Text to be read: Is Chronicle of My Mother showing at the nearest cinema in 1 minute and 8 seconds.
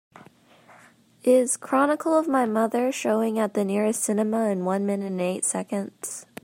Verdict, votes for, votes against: rejected, 0, 2